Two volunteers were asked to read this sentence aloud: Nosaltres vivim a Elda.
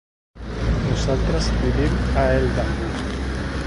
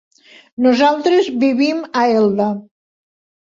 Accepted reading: second